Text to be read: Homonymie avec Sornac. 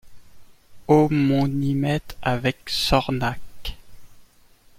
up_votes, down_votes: 1, 2